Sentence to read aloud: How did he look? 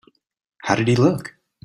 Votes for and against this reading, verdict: 2, 0, accepted